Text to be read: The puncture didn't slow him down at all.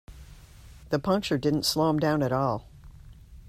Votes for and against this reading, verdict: 2, 0, accepted